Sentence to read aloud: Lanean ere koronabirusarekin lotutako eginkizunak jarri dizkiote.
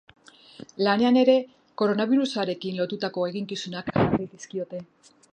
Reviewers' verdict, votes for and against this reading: rejected, 1, 2